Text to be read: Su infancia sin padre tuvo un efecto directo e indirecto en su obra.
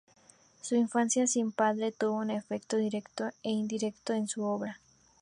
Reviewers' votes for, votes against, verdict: 2, 0, accepted